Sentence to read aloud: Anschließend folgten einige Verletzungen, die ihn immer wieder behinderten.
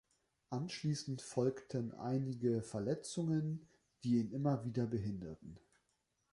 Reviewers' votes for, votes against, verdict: 3, 0, accepted